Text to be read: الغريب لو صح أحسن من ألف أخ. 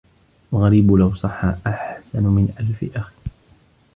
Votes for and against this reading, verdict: 2, 0, accepted